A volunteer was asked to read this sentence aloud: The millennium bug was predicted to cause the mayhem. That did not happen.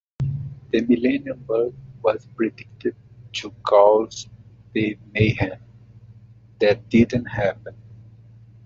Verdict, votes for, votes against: rejected, 1, 2